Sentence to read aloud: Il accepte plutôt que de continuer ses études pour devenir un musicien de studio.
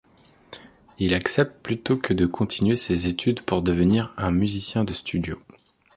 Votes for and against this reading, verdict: 2, 0, accepted